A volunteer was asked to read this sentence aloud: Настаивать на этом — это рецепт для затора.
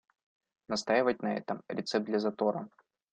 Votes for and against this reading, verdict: 0, 2, rejected